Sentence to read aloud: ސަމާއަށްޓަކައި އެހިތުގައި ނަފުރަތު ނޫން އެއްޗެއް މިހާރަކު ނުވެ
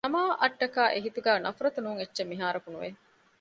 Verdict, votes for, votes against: rejected, 1, 2